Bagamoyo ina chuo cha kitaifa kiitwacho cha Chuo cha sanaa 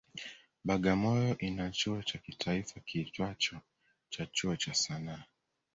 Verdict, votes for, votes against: rejected, 0, 2